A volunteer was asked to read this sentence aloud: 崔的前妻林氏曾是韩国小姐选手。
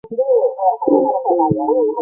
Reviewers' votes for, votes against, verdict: 0, 2, rejected